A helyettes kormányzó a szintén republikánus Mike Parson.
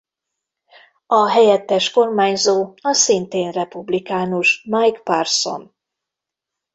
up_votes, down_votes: 2, 0